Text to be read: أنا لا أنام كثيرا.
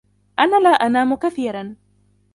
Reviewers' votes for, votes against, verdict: 1, 2, rejected